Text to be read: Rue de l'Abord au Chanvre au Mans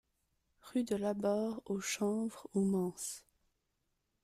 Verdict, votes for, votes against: rejected, 0, 2